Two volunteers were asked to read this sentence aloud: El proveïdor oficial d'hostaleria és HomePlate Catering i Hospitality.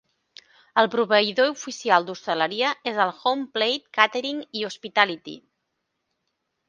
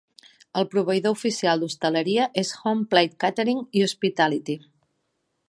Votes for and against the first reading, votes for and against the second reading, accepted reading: 1, 2, 2, 0, second